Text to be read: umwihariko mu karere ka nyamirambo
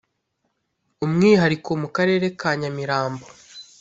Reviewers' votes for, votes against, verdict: 2, 0, accepted